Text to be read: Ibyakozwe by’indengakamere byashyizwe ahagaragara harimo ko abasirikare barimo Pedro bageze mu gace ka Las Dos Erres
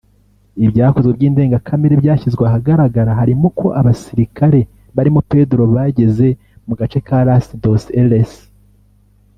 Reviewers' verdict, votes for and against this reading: rejected, 0, 2